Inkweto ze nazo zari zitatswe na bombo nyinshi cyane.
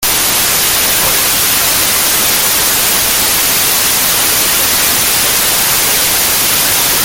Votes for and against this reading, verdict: 0, 2, rejected